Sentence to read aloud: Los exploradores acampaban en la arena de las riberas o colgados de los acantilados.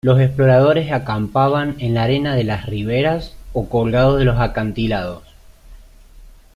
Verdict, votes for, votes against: accepted, 2, 1